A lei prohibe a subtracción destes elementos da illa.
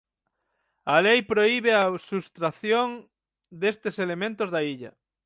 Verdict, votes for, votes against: rejected, 0, 6